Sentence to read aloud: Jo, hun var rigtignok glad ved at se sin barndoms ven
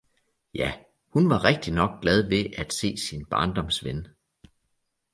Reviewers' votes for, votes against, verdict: 1, 2, rejected